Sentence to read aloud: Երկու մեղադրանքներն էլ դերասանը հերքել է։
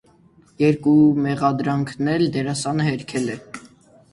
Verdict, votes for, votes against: rejected, 0, 2